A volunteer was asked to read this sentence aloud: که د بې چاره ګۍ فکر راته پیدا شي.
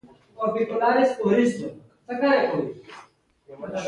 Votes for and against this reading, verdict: 1, 2, rejected